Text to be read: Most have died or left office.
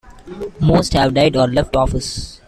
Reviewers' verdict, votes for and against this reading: accepted, 2, 0